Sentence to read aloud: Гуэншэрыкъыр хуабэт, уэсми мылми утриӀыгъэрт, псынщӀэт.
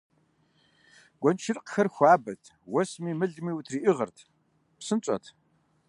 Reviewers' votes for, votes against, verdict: 1, 2, rejected